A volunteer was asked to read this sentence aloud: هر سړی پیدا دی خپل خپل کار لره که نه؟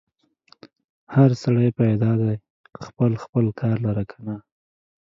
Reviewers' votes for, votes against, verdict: 2, 0, accepted